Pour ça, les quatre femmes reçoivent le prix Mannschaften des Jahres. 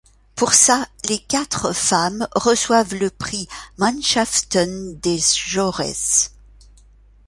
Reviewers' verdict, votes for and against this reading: rejected, 1, 2